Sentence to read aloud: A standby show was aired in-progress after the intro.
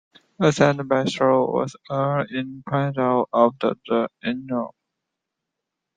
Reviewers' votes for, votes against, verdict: 0, 2, rejected